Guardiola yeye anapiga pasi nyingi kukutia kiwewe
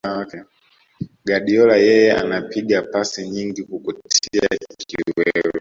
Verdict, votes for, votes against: rejected, 0, 2